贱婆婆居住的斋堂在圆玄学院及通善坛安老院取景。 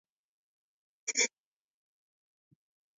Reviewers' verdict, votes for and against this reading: rejected, 1, 5